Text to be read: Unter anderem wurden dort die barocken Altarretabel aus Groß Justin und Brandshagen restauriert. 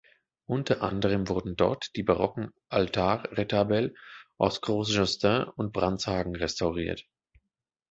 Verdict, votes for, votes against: rejected, 1, 2